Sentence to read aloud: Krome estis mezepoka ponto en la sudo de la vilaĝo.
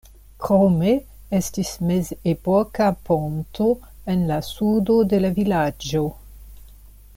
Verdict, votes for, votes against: accepted, 2, 0